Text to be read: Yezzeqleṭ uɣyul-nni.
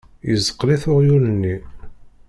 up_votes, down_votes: 0, 2